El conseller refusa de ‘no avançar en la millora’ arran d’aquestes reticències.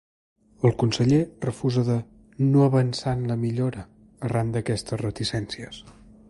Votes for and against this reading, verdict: 2, 0, accepted